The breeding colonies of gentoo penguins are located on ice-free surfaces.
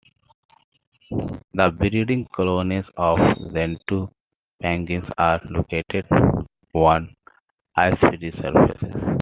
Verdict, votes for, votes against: rejected, 0, 2